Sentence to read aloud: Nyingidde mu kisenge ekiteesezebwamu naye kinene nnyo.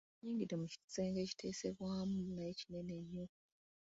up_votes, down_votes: 1, 2